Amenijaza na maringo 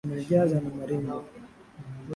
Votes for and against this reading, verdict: 2, 1, accepted